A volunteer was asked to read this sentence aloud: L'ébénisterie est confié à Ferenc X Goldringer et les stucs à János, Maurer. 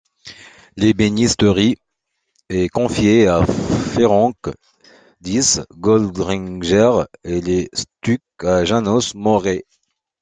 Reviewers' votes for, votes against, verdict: 1, 2, rejected